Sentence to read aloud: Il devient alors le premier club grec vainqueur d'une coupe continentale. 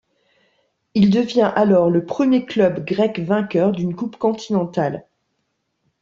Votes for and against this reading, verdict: 2, 0, accepted